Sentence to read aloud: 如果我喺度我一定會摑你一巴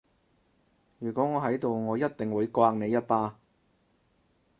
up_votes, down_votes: 4, 0